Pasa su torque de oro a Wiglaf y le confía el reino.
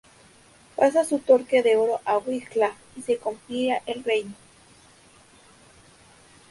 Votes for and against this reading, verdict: 2, 0, accepted